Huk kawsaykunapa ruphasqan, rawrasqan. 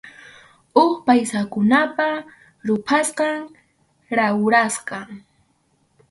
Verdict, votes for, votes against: rejected, 2, 2